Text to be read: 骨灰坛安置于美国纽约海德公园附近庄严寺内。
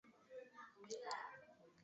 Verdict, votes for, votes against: rejected, 0, 4